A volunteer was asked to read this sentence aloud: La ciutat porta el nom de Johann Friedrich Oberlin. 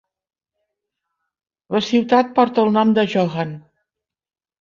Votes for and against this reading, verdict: 2, 4, rejected